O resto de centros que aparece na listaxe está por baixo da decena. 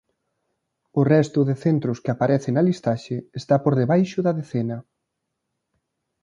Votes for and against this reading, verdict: 0, 2, rejected